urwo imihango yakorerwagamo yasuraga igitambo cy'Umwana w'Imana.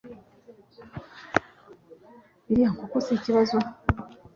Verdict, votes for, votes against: rejected, 1, 2